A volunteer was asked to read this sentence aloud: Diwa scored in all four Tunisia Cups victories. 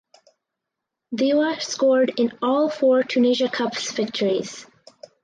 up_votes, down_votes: 4, 0